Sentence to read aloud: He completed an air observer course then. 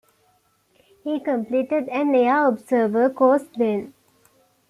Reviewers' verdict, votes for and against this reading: accepted, 2, 0